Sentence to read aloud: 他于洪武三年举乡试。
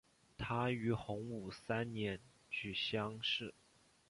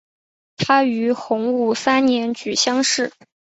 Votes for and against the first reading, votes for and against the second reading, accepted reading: 0, 2, 3, 0, second